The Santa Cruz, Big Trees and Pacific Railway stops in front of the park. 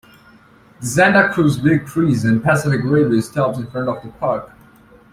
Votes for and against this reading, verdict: 2, 0, accepted